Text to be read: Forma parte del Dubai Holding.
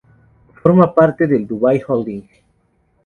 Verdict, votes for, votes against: accepted, 2, 0